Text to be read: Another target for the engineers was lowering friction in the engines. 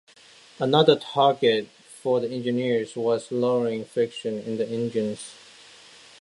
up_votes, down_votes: 2, 0